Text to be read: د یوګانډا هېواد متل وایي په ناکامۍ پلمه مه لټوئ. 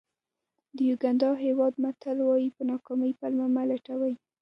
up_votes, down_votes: 1, 2